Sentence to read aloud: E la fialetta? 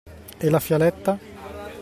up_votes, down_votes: 2, 0